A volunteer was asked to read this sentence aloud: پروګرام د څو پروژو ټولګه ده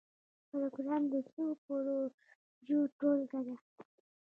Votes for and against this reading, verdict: 1, 2, rejected